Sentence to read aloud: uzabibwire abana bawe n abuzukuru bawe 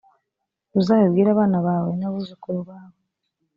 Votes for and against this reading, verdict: 2, 0, accepted